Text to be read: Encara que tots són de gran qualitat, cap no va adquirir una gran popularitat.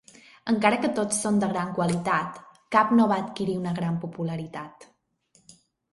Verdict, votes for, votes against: accepted, 5, 0